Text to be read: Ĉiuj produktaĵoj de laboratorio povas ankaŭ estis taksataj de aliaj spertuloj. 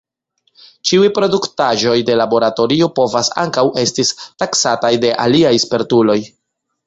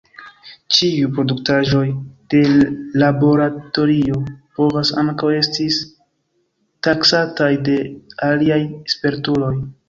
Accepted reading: first